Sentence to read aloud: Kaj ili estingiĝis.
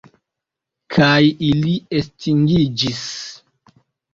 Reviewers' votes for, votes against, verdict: 2, 0, accepted